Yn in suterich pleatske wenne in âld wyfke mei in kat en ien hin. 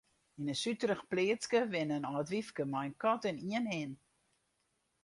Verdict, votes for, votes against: rejected, 0, 2